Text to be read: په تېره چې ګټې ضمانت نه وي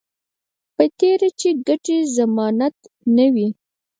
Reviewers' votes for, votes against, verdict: 2, 4, rejected